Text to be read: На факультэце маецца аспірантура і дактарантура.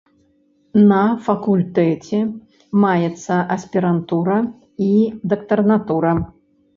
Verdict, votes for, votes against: rejected, 2, 3